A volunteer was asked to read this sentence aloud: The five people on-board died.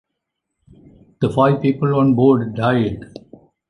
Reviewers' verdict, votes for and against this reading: accepted, 2, 0